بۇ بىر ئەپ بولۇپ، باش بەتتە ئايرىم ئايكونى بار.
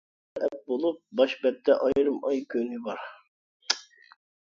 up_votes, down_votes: 0, 2